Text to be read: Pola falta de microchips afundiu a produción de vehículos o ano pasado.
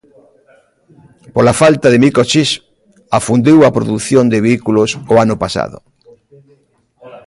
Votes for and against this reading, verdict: 0, 2, rejected